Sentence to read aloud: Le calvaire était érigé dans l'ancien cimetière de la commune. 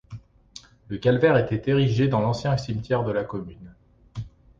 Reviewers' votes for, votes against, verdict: 3, 0, accepted